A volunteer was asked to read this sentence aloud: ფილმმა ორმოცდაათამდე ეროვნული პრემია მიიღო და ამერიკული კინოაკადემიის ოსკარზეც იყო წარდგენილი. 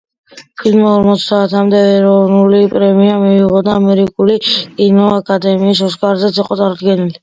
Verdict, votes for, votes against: accepted, 2, 0